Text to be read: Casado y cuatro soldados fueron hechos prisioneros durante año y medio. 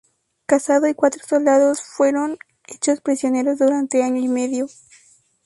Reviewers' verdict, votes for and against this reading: rejected, 0, 2